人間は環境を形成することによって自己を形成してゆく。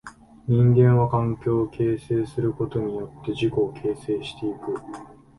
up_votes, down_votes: 2, 0